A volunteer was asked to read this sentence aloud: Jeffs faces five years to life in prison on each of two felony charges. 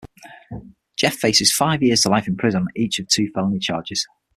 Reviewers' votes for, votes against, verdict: 3, 6, rejected